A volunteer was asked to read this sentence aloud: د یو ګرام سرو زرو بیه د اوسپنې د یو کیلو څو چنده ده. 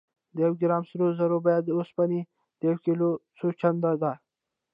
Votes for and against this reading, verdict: 1, 2, rejected